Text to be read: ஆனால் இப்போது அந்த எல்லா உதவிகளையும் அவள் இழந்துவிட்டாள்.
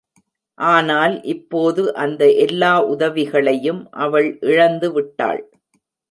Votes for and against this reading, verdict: 2, 0, accepted